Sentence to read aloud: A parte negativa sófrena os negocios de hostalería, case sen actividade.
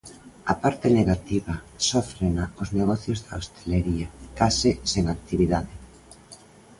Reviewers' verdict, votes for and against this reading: rejected, 0, 2